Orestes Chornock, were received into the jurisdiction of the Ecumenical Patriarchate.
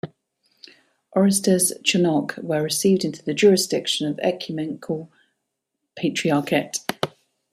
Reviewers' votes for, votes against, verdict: 1, 2, rejected